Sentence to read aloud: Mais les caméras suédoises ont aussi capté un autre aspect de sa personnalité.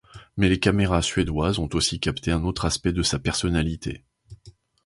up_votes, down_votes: 2, 0